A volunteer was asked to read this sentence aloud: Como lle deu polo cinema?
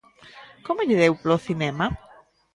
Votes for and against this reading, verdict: 2, 0, accepted